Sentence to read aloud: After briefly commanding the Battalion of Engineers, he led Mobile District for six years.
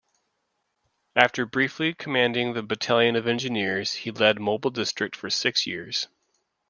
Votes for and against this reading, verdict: 2, 0, accepted